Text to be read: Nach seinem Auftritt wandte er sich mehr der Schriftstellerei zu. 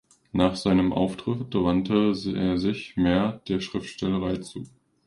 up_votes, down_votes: 1, 2